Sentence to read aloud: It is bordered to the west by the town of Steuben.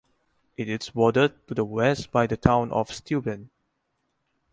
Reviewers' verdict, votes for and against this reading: accepted, 4, 0